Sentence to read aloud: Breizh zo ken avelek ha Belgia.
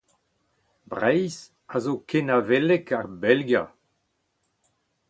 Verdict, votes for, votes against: rejected, 0, 4